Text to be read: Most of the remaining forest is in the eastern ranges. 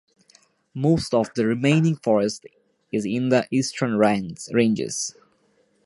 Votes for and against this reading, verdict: 0, 2, rejected